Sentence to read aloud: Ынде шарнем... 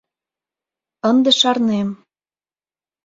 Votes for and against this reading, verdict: 2, 0, accepted